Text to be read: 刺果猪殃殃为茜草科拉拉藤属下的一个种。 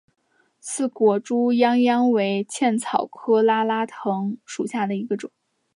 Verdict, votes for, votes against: accepted, 2, 0